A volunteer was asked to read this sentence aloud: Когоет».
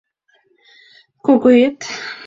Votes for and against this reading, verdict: 0, 4, rejected